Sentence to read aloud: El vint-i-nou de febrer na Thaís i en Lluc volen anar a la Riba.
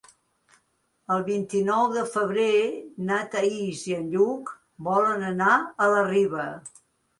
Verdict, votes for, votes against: accepted, 2, 0